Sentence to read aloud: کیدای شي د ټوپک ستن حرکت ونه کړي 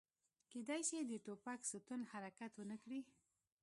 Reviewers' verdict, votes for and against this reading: rejected, 0, 2